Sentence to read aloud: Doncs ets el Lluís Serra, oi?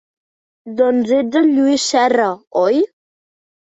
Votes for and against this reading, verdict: 2, 0, accepted